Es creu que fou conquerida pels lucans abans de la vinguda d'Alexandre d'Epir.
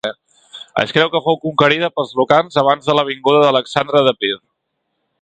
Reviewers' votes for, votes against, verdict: 1, 2, rejected